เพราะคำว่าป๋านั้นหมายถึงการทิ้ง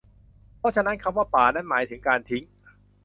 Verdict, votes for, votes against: rejected, 1, 2